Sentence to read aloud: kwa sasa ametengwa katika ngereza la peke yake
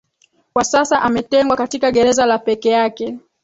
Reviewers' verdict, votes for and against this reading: accepted, 2, 1